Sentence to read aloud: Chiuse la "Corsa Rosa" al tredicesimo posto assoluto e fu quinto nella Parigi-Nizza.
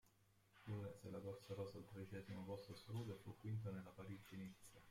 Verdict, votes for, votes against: rejected, 0, 2